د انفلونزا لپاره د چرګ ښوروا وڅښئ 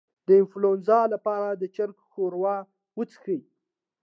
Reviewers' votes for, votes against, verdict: 2, 0, accepted